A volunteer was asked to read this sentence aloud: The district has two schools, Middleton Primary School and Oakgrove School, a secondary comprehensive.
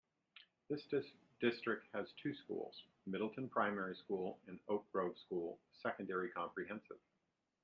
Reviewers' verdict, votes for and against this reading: rejected, 1, 2